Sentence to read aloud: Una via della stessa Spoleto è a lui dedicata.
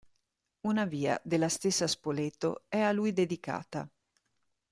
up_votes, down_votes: 2, 0